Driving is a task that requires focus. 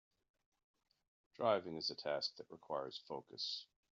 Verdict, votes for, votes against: accepted, 4, 0